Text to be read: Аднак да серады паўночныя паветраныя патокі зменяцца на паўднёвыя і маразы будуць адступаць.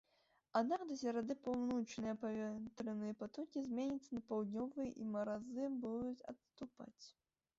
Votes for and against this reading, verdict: 1, 2, rejected